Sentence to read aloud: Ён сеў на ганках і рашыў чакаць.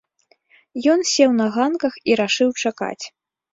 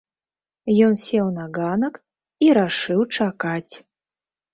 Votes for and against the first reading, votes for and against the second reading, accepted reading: 2, 0, 1, 2, first